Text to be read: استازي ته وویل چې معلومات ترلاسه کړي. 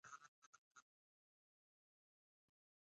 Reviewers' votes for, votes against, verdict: 1, 2, rejected